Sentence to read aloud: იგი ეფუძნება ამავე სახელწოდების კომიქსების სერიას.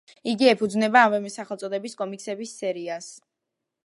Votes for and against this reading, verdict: 2, 0, accepted